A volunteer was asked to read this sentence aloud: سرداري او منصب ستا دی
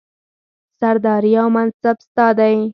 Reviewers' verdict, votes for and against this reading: accepted, 4, 0